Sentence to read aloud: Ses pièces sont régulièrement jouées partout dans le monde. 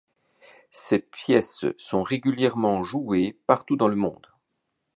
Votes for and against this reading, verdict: 2, 0, accepted